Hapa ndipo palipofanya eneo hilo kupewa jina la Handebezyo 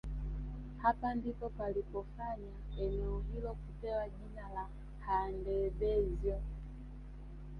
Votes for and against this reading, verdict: 0, 3, rejected